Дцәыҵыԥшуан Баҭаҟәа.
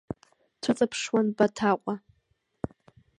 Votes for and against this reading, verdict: 1, 2, rejected